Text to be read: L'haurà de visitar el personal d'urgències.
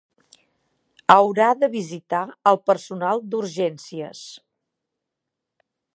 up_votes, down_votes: 0, 2